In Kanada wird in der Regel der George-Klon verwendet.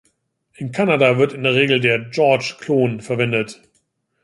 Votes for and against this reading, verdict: 2, 0, accepted